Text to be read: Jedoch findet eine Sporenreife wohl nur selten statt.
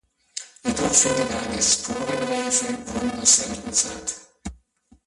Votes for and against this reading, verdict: 0, 2, rejected